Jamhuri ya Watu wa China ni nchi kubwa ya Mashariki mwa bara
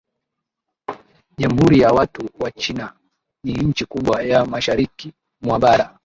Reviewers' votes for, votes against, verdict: 2, 0, accepted